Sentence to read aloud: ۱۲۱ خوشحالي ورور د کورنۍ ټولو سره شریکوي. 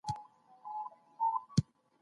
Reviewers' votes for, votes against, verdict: 0, 2, rejected